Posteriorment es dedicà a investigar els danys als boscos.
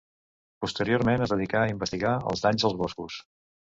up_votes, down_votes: 2, 0